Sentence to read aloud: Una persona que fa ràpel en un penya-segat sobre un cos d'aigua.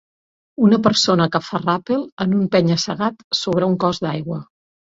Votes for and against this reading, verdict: 2, 0, accepted